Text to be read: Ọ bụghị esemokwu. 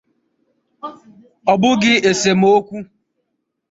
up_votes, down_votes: 0, 2